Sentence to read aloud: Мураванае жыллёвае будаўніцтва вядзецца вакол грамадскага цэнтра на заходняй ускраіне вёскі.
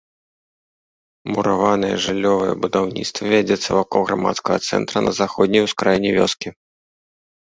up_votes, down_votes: 3, 0